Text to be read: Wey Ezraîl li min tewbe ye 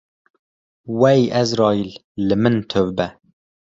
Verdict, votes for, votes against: rejected, 0, 2